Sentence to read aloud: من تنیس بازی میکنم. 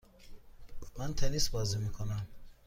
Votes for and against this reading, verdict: 2, 0, accepted